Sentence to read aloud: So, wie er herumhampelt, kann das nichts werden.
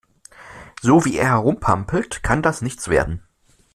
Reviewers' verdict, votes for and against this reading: rejected, 1, 2